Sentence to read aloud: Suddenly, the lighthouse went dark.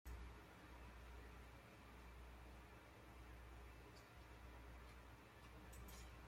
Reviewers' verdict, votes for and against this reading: rejected, 0, 2